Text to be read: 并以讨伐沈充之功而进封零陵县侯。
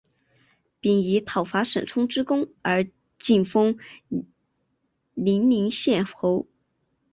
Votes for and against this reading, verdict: 3, 2, accepted